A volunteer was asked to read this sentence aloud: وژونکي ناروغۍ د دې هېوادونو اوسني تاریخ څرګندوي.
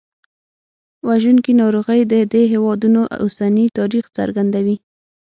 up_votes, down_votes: 6, 0